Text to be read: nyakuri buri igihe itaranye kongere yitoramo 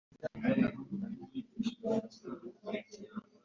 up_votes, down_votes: 0, 4